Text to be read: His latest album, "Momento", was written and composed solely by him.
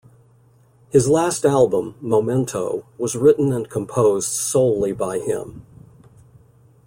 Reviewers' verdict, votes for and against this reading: rejected, 0, 2